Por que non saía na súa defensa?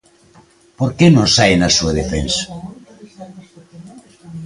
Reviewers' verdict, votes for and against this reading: rejected, 1, 2